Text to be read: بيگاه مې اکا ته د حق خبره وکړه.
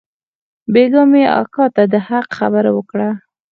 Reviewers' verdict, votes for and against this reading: accepted, 4, 0